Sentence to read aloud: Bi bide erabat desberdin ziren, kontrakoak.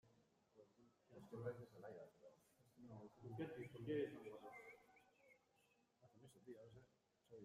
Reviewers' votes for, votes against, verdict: 0, 2, rejected